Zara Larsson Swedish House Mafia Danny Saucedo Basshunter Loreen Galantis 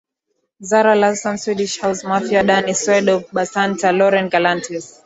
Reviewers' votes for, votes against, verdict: 1, 2, rejected